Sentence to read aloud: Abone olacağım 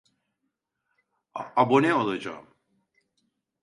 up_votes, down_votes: 1, 2